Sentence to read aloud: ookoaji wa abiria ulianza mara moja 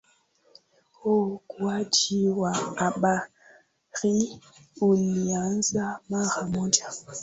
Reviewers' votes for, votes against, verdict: 4, 1, accepted